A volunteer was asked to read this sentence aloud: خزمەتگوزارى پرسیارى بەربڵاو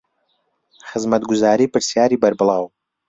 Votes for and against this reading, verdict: 1, 2, rejected